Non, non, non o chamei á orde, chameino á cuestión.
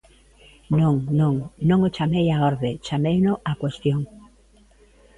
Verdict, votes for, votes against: accepted, 2, 0